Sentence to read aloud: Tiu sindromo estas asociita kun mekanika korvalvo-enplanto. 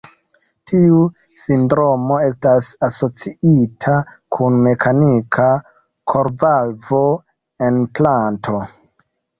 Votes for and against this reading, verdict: 2, 0, accepted